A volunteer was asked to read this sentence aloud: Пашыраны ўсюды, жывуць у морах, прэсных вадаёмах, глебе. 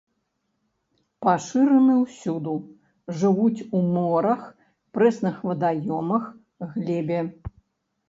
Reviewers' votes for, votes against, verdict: 0, 2, rejected